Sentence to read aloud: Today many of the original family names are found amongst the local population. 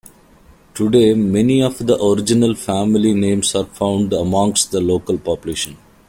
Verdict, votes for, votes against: accepted, 2, 0